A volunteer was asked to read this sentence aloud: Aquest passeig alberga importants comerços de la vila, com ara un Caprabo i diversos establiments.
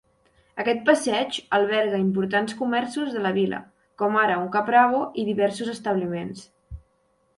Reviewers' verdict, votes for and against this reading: accepted, 2, 0